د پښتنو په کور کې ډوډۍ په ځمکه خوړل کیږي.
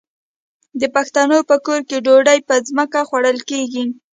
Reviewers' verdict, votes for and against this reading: accepted, 2, 0